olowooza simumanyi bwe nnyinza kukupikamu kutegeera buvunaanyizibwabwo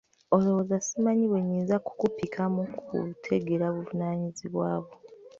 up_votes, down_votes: 1, 2